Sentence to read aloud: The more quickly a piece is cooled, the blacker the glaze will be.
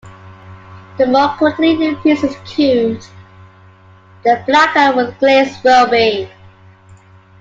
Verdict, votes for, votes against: accepted, 2, 0